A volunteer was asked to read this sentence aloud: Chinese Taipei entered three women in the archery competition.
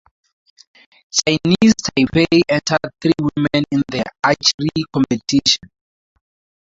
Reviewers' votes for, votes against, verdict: 2, 0, accepted